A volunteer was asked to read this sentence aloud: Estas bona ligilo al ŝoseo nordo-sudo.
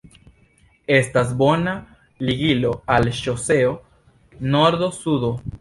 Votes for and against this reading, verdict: 2, 0, accepted